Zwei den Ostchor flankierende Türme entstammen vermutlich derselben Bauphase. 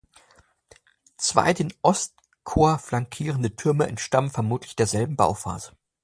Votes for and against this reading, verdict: 2, 1, accepted